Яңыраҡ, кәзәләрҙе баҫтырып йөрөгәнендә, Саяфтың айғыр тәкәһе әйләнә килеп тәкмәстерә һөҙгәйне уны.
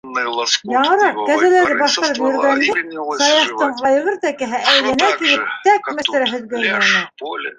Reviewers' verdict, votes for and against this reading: rejected, 1, 2